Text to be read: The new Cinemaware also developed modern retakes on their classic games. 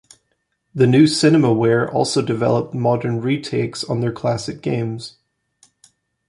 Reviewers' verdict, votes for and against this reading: accepted, 2, 0